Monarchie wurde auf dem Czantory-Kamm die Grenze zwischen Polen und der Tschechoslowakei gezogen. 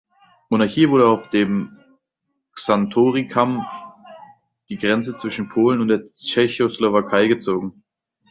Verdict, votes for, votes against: accepted, 2, 0